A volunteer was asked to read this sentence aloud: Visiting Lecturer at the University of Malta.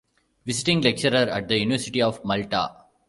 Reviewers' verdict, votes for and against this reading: rejected, 1, 2